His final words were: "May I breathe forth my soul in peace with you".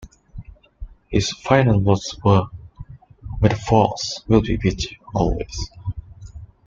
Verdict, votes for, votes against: rejected, 1, 2